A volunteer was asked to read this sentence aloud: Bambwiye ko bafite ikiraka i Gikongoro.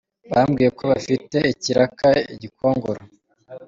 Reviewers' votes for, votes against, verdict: 2, 0, accepted